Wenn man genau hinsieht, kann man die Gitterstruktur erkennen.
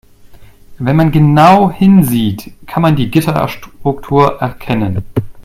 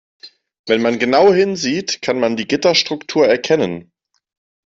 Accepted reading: second